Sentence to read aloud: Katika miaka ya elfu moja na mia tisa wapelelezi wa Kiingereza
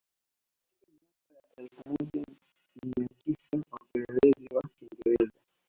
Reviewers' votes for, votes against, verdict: 1, 2, rejected